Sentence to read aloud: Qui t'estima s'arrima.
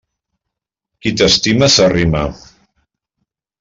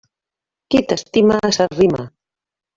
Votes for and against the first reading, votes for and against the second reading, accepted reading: 3, 0, 1, 2, first